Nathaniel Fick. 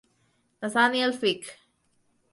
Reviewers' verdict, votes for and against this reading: rejected, 2, 4